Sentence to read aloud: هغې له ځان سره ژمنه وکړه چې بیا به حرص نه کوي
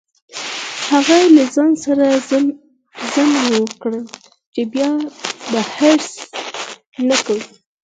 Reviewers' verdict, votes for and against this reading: rejected, 2, 4